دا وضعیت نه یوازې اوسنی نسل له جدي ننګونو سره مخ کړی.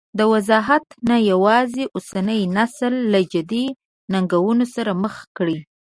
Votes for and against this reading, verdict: 0, 2, rejected